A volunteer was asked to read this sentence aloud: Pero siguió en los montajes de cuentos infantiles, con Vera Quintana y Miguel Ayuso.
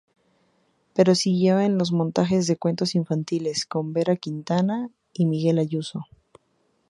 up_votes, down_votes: 2, 0